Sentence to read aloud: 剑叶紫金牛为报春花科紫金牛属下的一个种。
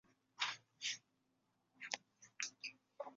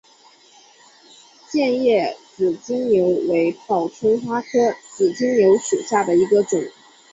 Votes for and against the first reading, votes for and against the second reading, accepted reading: 0, 3, 2, 1, second